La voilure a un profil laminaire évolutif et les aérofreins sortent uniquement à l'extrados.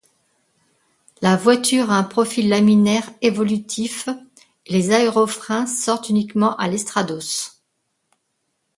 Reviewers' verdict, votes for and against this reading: rejected, 1, 2